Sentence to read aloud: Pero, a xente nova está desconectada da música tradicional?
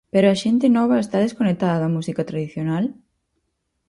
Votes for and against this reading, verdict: 4, 0, accepted